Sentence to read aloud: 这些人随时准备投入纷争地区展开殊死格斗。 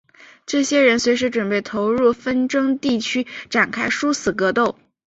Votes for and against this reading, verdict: 2, 0, accepted